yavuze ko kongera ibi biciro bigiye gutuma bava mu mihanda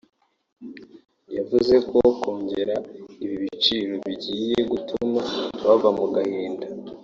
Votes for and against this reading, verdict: 1, 2, rejected